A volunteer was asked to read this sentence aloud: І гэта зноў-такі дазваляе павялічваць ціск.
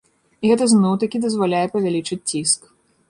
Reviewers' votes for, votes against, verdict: 1, 2, rejected